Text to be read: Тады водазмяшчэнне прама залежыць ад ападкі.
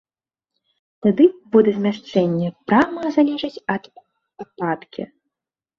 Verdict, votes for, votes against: rejected, 2, 3